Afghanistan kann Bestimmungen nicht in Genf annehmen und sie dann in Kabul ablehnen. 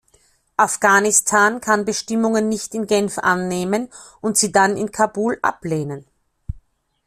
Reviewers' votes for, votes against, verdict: 2, 0, accepted